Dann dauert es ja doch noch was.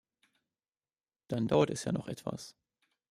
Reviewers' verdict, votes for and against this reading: rejected, 0, 2